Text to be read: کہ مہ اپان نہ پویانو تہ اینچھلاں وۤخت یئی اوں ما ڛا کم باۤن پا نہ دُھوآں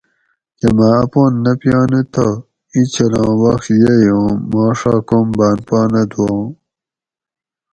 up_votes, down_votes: 2, 2